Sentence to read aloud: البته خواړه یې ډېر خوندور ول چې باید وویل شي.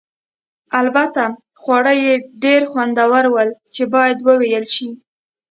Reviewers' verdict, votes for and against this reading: accepted, 2, 0